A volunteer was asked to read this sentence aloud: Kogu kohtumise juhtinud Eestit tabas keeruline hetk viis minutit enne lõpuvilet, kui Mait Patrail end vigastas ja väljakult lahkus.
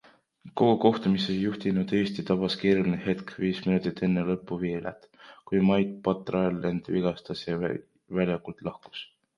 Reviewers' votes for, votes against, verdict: 0, 2, rejected